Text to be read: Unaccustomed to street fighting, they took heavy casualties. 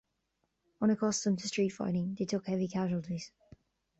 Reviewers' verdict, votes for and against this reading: accepted, 2, 0